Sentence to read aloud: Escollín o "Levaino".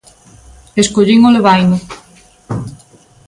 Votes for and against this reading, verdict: 2, 0, accepted